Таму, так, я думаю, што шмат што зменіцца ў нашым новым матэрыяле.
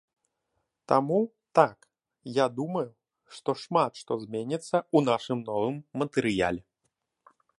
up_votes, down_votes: 2, 0